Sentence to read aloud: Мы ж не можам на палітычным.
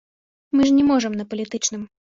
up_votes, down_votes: 2, 0